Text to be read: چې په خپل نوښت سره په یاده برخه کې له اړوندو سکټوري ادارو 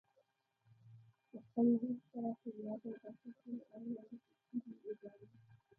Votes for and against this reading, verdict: 0, 2, rejected